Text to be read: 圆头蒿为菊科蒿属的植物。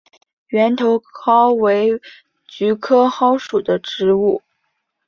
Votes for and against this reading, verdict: 4, 0, accepted